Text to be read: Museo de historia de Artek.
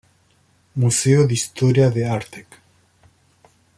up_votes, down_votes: 2, 0